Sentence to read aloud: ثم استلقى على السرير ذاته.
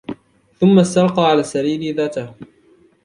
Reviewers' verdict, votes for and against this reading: accepted, 2, 0